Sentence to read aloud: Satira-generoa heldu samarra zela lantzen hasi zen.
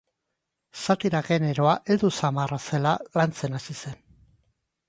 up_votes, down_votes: 3, 1